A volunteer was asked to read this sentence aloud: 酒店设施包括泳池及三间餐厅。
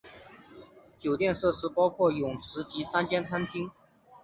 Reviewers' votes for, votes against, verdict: 2, 0, accepted